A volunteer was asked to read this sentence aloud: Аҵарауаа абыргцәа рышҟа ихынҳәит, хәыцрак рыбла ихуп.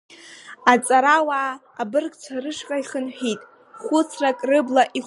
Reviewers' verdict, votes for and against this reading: rejected, 1, 2